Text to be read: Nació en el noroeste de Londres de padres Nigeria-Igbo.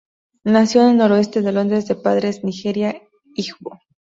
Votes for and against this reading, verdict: 2, 0, accepted